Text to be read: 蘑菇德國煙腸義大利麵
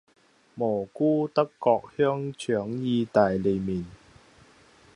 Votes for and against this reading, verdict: 1, 2, rejected